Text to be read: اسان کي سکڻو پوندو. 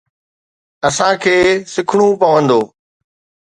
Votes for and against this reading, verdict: 2, 0, accepted